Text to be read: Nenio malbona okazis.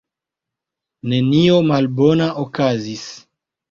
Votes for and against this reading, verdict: 1, 2, rejected